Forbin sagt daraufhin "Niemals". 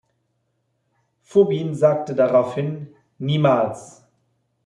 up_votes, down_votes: 1, 2